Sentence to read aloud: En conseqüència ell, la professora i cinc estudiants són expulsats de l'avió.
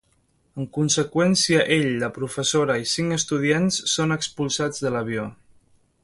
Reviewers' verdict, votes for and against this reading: accepted, 2, 0